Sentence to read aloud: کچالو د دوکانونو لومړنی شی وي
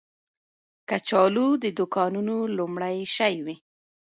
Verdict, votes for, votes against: accepted, 2, 0